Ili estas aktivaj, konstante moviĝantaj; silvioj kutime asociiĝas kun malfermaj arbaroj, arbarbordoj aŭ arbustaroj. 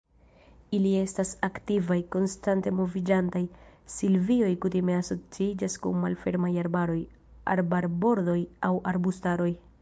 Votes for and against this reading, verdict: 2, 0, accepted